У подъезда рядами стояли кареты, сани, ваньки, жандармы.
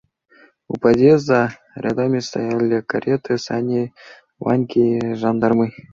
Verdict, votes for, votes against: accepted, 2, 0